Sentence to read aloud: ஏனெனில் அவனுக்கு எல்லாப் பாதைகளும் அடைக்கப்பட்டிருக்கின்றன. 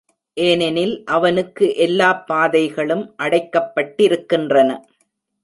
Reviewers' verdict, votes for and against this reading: accepted, 2, 0